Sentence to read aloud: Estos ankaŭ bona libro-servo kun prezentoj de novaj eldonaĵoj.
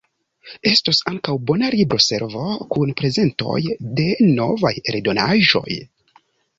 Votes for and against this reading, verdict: 2, 0, accepted